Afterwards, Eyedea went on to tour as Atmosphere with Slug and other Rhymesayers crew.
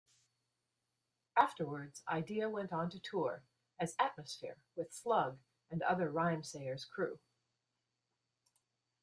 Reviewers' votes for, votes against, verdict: 2, 1, accepted